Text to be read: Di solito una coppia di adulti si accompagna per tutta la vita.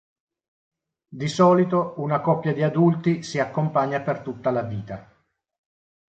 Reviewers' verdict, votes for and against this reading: accepted, 2, 0